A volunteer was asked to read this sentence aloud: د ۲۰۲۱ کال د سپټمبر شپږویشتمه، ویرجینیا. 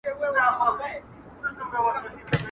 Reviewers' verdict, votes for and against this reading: rejected, 0, 2